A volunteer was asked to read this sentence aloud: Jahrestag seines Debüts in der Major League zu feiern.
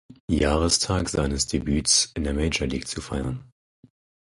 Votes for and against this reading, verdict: 4, 0, accepted